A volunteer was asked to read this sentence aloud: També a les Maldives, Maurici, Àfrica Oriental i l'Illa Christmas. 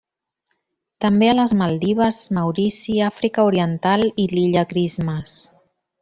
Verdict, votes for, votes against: accepted, 3, 0